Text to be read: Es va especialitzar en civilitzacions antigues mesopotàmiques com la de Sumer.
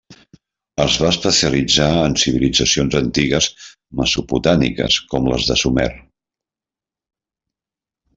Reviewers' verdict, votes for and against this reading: rejected, 1, 2